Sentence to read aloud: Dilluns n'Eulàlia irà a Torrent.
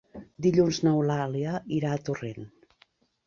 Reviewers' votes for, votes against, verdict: 2, 0, accepted